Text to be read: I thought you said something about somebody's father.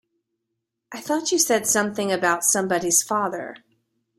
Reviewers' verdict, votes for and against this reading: accepted, 2, 0